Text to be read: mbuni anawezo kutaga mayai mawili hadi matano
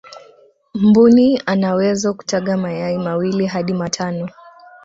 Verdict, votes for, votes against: accepted, 2, 0